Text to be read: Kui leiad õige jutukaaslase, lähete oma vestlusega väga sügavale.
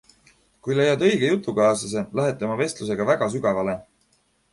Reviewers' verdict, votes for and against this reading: accepted, 2, 1